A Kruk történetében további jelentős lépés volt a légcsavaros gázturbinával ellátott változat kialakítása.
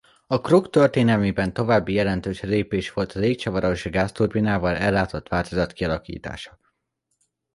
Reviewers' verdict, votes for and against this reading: rejected, 1, 2